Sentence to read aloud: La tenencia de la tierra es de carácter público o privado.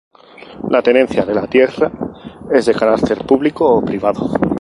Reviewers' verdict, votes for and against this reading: rejected, 2, 2